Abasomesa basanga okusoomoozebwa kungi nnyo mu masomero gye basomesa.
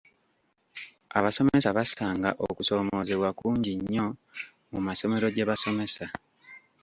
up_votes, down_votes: 0, 2